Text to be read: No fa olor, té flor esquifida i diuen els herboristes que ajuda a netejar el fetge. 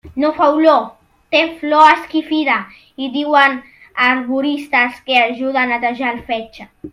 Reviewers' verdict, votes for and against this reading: rejected, 0, 2